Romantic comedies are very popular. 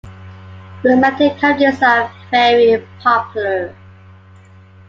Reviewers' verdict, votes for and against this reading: rejected, 1, 2